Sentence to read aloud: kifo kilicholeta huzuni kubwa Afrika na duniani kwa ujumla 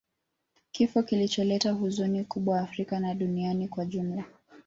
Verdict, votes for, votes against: accepted, 2, 0